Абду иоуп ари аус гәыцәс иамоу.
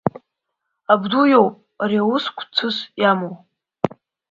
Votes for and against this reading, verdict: 1, 2, rejected